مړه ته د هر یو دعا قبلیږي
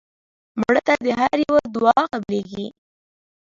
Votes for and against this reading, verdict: 1, 2, rejected